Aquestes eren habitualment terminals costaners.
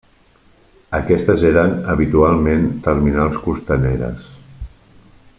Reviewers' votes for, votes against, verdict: 0, 2, rejected